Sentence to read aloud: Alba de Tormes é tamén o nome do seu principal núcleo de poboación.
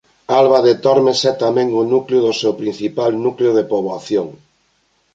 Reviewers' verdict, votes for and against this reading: rejected, 0, 2